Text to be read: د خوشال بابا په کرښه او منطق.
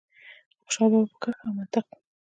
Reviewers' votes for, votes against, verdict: 2, 1, accepted